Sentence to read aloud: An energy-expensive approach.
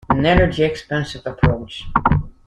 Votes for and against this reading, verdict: 2, 0, accepted